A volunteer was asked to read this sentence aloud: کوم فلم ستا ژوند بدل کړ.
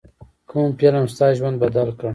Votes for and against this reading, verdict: 2, 0, accepted